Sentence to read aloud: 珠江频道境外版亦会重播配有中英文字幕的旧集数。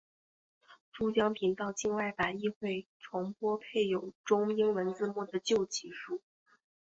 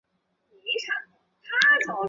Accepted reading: first